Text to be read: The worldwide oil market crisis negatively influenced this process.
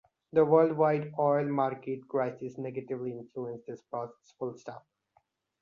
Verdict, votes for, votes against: rejected, 0, 2